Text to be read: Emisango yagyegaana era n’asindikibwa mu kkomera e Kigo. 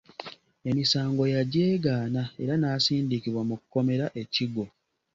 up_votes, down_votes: 2, 0